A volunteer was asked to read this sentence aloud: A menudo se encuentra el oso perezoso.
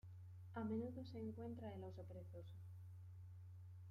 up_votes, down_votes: 2, 1